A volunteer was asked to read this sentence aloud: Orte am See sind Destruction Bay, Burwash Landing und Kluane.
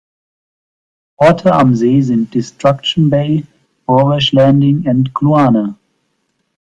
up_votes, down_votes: 2, 0